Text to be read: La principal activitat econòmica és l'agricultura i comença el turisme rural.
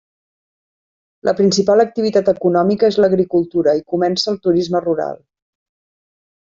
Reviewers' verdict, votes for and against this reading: accepted, 3, 0